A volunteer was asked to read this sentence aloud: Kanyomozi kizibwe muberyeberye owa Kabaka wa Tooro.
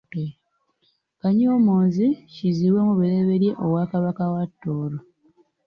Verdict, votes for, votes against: rejected, 0, 2